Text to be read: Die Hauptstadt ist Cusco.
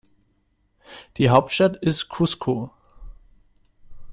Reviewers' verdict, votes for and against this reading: accepted, 2, 0